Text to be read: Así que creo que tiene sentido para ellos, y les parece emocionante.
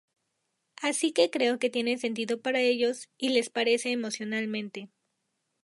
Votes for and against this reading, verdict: 0, 2, rejected